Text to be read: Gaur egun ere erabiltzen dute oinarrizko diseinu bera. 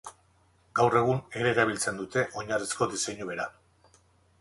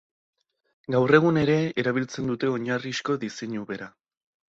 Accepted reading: second